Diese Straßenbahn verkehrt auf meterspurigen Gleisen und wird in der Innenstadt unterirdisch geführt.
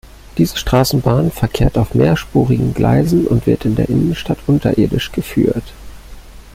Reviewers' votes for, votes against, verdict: 1, 2, rejected